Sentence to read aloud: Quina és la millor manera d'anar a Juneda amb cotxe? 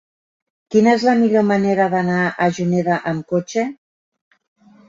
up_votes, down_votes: 5, 0